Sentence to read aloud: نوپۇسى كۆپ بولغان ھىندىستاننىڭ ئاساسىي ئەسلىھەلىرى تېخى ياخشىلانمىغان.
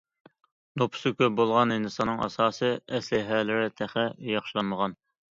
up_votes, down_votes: 2, 1